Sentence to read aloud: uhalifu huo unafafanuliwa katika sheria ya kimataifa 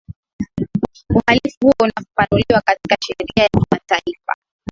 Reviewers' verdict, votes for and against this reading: rejected, 0, 2